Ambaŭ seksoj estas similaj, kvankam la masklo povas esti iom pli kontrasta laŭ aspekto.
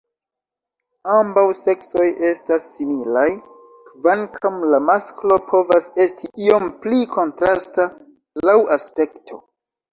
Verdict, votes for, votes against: rejected, 1, 2